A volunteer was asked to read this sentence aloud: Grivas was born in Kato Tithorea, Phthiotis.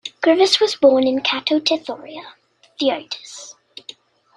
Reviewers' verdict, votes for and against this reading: accepted, 2, 0